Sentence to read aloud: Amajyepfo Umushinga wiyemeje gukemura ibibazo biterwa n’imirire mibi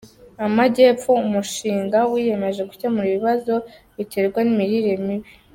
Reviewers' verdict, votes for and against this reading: accepted, 2, 0